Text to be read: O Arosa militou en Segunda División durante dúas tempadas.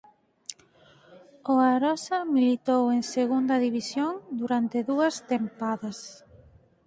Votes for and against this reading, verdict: 4, 2, accepted